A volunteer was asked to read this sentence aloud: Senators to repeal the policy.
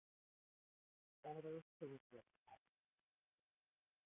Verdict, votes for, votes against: rejected, 0, 2